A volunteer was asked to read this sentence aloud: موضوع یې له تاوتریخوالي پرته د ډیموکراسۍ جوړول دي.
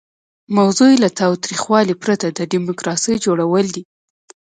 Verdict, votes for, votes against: rejected, 1, 2